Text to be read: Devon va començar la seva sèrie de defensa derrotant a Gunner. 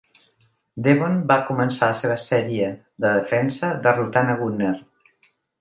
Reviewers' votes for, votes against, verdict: 2, 0, accepted